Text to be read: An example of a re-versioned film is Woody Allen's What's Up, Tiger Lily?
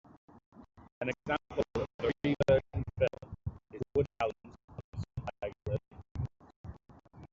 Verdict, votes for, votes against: rejected, 0, 2